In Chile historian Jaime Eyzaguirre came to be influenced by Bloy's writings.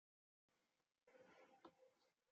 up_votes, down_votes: 1, 2